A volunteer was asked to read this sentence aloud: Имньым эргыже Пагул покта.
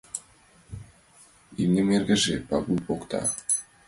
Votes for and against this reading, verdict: 2, 1, accepted